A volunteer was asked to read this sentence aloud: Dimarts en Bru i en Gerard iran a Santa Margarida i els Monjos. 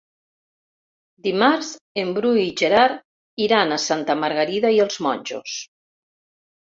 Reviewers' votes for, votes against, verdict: 0, 2, rejected